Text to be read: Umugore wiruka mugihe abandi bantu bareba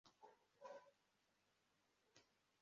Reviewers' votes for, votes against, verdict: 0, 2, rejected